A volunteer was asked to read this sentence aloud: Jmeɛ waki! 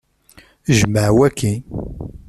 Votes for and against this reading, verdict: 2, 0, accepted